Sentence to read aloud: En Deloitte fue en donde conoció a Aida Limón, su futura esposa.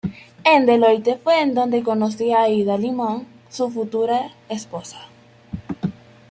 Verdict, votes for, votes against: accepted, 2, 1